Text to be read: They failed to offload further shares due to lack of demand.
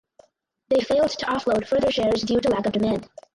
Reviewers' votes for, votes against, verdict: 4, 2, accepted